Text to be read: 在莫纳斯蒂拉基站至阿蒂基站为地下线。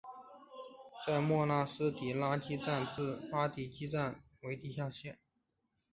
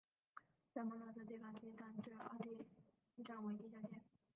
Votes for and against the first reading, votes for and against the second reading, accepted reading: 3, 1, 0, 2, first